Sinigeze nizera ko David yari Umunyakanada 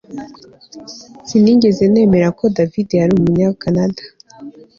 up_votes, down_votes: 2, 0